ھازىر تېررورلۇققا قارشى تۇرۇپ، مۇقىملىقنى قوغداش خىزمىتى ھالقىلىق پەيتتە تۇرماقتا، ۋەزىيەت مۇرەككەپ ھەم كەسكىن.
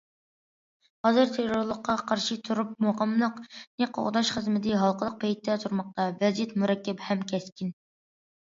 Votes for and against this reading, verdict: 2, 0, accepted